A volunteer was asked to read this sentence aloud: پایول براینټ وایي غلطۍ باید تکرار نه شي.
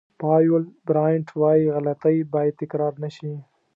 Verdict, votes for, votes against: accepted, 2, 0